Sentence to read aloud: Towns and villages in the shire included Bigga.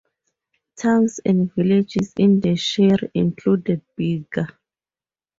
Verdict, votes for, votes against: rejected, 4, 6